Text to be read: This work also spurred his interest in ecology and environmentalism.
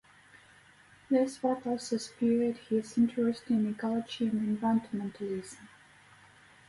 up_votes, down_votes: 0, 2